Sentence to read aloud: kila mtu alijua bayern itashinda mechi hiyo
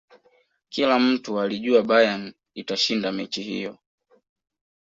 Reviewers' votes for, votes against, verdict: 2, 0, accepted